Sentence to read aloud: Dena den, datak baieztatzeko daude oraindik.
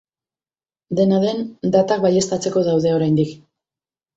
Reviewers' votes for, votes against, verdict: 4, 0, accepted